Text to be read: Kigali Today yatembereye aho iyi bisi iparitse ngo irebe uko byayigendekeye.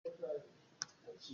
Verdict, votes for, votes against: rejected, 0, 2